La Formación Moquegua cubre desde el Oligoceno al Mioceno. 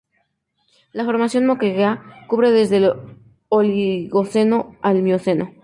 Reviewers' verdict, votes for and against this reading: accepted, 2, 0